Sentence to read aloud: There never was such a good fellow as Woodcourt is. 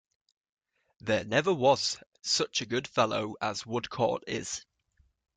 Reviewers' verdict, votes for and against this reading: accepted, 2, 0